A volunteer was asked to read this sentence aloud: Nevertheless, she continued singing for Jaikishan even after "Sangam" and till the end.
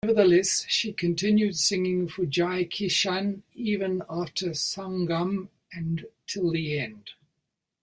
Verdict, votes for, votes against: rejected, 0, 2